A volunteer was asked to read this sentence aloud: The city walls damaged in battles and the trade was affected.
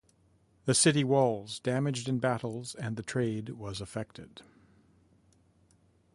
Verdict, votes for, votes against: accepted, 2, 0